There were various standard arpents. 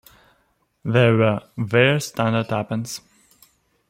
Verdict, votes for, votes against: rejected, 1, 2